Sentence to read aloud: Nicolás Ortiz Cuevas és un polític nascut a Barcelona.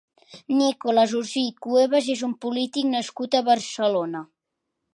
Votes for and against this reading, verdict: 1, 2, rejected